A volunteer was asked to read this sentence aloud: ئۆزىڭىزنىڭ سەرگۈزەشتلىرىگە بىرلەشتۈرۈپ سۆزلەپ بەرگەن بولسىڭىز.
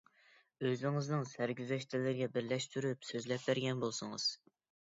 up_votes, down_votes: 2, 0